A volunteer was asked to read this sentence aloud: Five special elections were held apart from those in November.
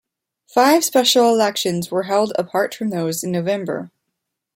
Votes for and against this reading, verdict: 2, 1, accepted